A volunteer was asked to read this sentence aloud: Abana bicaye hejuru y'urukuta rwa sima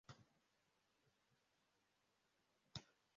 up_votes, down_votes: 0, 2